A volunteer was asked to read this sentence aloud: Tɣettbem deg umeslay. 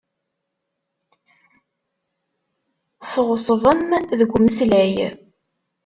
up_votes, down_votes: 2, 3